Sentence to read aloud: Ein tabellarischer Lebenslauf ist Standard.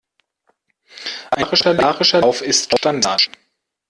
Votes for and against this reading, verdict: 0, 2, rejected